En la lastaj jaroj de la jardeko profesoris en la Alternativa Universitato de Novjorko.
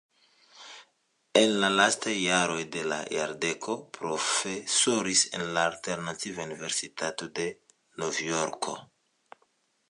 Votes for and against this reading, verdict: 2, 1, accepted